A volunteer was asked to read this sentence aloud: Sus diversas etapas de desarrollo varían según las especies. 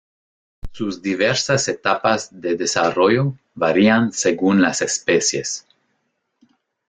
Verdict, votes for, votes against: accepted, 2, 0